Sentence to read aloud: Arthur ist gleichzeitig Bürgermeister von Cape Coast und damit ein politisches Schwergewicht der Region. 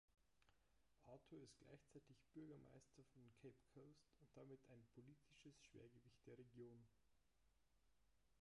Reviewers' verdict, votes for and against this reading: rejected, 0, 2